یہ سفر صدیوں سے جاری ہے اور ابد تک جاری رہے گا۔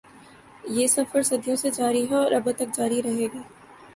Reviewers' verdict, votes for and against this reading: accepted, 3, 0